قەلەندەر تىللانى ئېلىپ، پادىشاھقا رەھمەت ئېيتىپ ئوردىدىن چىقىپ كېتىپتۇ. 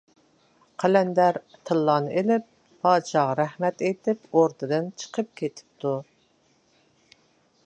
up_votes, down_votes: 2, 0